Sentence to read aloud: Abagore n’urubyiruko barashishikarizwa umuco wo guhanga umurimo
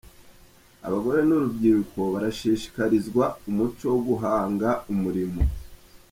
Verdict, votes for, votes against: accepted, 2, 0